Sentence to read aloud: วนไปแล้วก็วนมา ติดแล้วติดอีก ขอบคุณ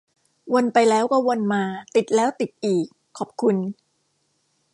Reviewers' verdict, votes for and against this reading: accepted, 2, 0